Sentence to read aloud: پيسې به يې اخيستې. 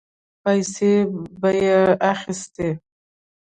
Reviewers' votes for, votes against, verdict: 0, 2, rejected